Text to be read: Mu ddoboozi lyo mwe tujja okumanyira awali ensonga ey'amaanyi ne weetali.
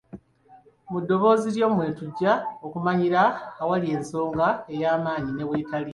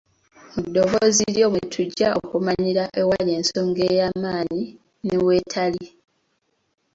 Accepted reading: first